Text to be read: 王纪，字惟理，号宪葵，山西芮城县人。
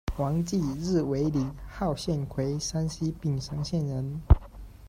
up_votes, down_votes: 1, 2